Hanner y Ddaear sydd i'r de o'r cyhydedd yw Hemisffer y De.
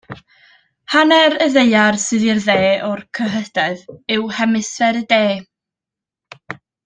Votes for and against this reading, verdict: 2, 0, accepted